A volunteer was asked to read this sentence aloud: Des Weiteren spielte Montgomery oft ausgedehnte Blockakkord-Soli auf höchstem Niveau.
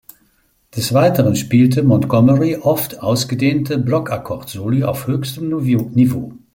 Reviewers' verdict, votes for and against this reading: rejected, 0, 2